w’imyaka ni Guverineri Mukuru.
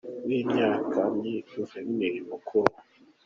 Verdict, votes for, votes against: accepted, 2, 1